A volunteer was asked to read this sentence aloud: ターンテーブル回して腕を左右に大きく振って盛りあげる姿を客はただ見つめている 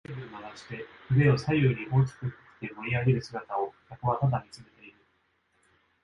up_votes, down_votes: 1, 2